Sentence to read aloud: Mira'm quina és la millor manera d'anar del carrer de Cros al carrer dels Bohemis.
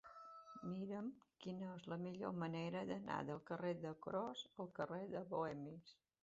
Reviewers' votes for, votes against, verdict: 0, 2, rejected